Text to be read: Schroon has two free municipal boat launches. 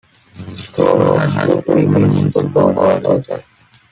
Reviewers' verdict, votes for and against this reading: rejected, 0, 2